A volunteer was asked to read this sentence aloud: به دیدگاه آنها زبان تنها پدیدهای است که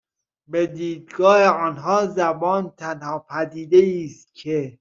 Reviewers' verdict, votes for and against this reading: accepted, 2, 0